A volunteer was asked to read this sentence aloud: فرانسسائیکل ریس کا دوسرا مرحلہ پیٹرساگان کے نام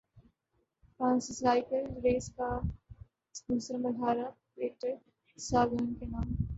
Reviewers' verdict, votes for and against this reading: rejected, 0, 4